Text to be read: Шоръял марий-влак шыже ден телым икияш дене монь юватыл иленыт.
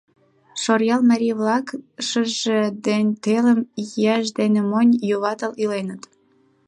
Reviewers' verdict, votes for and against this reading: rejected, 2, 3